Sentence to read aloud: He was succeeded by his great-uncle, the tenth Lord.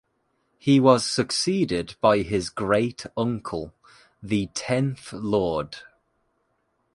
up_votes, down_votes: 2, 0